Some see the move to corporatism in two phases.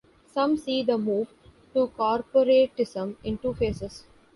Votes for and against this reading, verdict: 2, 0, accepted